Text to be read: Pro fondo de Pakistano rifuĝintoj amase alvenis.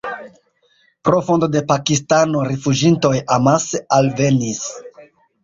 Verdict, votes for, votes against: rejected, 1, 2